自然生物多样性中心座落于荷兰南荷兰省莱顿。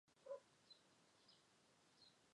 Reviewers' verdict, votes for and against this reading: rejected, 0, 2